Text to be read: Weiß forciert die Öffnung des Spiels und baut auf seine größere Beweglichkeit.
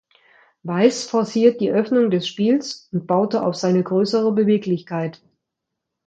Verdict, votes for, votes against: rejected, 1, 2